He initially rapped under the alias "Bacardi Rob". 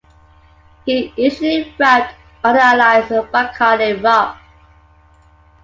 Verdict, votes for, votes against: accepted, 2, 1